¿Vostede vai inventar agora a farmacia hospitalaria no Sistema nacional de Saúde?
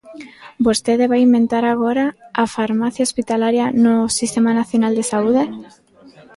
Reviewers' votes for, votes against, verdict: 2, 0, accepted